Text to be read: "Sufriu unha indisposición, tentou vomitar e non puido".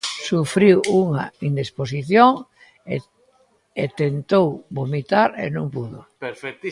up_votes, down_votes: 0, 2